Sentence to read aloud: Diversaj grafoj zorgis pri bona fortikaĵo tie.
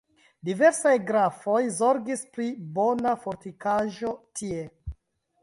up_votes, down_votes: 1, 2